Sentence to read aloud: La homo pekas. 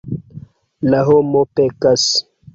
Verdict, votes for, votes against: accepted, 3, 0